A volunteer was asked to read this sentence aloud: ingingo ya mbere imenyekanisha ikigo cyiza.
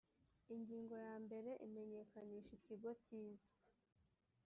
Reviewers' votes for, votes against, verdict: 1, 2, rejected